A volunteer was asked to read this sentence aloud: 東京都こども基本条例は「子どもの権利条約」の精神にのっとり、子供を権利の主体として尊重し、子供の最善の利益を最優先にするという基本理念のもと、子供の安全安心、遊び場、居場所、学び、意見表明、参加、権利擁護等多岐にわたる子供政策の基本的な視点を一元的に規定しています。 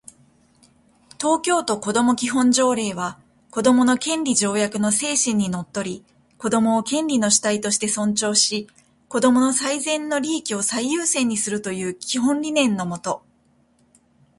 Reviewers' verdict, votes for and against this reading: rejected, 1, 2